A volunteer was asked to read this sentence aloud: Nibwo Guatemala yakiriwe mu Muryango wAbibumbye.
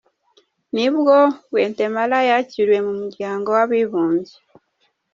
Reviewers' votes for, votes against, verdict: 2, 0, accepted